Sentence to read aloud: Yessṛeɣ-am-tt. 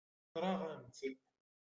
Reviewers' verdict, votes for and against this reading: rejected, 0, 2